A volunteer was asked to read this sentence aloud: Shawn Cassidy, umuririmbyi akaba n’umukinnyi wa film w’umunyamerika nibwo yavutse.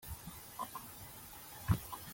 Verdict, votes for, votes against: rejected, 0, 2